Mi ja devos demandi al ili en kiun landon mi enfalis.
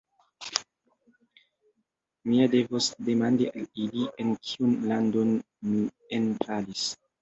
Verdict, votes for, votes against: accepted, 2, 0